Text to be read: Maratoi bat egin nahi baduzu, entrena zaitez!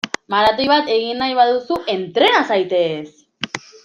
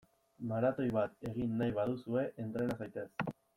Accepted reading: first